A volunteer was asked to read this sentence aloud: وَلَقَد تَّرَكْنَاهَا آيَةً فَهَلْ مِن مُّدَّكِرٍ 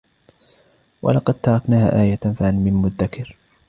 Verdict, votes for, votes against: accepted, 2, 0